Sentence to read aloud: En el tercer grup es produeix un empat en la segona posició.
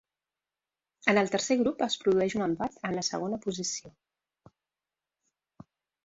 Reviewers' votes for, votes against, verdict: 3, 1, accepted